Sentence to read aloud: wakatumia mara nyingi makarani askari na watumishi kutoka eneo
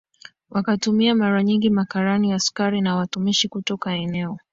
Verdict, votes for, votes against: accepted, 7, 2